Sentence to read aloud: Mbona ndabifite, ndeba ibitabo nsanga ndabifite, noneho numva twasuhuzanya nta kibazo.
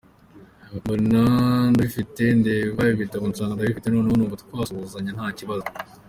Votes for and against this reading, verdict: 2, 0, accepted